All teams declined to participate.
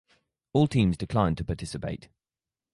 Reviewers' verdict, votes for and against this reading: rejected, 2, 2